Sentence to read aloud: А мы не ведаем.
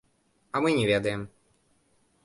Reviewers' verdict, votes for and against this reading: rejected, 0, 2